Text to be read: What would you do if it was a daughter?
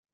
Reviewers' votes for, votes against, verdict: 0, 2, rejected